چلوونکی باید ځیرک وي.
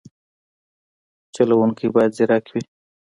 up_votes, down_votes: 2, 0